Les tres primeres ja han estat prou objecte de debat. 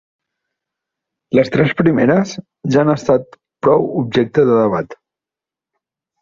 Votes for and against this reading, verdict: 0, 2, rejected